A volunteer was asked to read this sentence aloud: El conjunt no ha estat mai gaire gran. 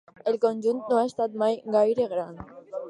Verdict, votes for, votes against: accepted, 2, 0